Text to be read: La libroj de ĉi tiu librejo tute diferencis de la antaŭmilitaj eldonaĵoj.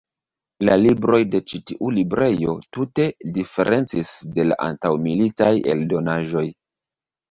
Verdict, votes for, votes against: accepted, 2, 1